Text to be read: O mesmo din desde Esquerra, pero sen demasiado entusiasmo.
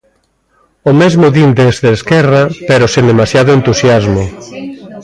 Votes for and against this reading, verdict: 1, 2, rejected